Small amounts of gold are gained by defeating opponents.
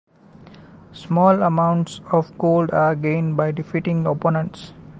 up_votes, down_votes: 2, 0